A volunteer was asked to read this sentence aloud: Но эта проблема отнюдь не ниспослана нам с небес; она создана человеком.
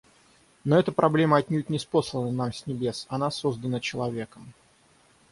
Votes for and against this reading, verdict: 3, 3, rejected